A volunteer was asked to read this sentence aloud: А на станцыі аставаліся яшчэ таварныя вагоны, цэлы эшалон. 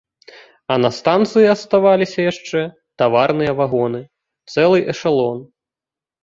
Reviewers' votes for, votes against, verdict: 2, 0, accepted